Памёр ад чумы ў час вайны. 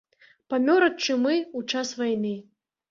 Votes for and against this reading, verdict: 2, 0, accepted